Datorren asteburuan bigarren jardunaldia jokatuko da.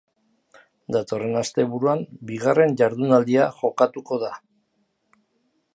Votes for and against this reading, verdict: 4, 0, accepted